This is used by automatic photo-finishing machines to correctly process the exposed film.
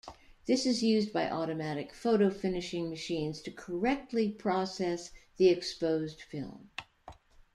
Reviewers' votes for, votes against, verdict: 2, 0, accepted